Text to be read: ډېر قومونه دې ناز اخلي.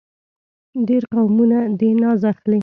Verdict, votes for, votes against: accepted, 2, 0